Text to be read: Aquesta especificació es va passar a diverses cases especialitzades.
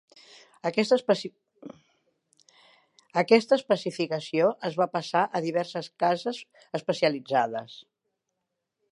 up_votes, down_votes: 0, 2